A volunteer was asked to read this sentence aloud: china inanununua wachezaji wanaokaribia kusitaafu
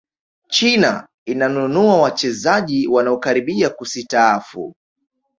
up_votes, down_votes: 2, 0